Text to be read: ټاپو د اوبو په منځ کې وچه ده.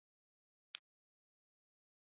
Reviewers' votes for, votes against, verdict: 1, 2, rejected